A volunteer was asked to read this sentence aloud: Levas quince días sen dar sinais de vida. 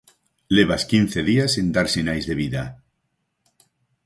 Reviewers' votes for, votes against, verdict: 4, 0, accepted